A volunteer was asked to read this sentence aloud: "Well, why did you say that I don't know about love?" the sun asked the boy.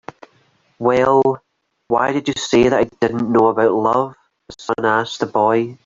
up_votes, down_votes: 1, 2